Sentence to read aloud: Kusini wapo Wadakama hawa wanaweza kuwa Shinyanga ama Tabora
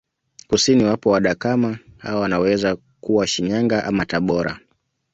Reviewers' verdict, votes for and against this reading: accepted, 2, 0